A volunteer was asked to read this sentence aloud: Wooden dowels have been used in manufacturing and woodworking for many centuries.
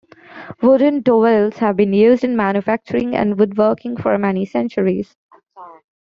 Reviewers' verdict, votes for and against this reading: accepted, 2, 1